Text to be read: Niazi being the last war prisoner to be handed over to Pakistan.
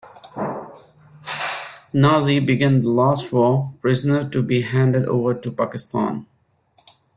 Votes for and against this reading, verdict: 2, 1, accepted